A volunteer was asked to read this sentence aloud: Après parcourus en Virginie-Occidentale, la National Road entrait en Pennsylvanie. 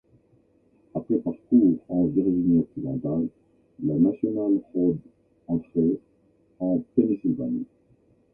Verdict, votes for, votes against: rejected, 0, 2